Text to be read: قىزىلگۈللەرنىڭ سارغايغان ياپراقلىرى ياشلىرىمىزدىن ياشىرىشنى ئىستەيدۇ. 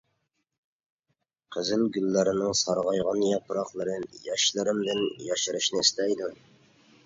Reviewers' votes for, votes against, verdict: 0, 2, rejected